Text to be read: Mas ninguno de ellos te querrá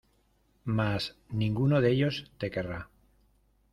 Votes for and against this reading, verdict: 2, 0, accepted